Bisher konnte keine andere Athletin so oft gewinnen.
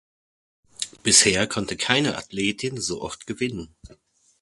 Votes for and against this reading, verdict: 0, 2, rejected